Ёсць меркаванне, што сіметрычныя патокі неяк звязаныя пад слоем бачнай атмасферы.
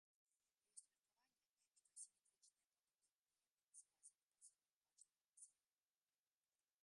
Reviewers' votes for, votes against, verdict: 0, 2, rejected